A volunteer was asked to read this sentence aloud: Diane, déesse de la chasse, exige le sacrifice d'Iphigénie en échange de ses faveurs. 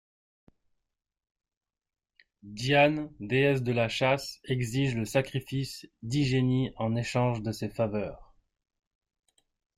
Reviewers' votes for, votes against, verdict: 0, 2, rejected